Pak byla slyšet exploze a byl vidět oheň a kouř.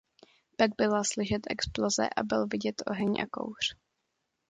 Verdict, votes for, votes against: accepted, 2, 0